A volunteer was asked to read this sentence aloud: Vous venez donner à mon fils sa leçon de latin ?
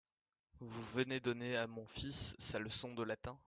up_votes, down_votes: 2, 0